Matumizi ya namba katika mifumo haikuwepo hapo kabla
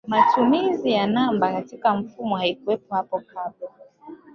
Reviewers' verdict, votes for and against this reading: rejected, 1, 3